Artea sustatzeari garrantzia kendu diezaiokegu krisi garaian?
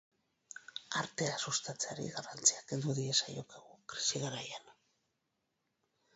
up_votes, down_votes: 0, 2